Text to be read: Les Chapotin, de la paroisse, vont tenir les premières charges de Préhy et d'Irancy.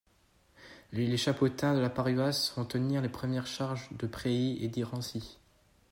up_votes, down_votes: 2, 0